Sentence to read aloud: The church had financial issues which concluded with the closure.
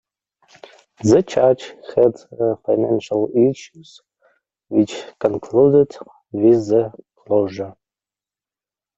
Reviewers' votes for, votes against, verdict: 2, 0, accepted